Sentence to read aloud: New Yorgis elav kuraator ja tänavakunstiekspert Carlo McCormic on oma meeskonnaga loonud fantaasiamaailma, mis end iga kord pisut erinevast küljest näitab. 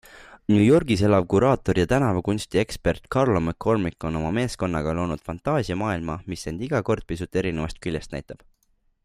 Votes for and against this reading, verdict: 3, 0, accepted